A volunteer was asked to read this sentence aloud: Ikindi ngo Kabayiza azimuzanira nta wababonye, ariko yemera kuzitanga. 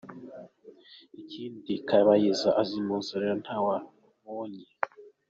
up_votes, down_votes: 0, 3